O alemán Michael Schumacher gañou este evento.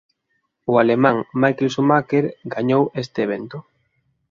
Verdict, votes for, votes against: accepted, 2, 0